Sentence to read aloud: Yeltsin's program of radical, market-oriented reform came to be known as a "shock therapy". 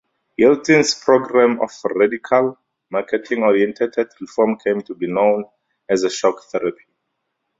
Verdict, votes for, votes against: rejected, 0, 2